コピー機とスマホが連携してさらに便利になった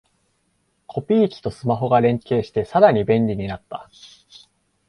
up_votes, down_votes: 2, 0